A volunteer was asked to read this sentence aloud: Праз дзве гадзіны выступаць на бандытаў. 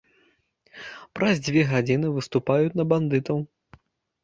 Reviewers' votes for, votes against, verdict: 1, 2, rejected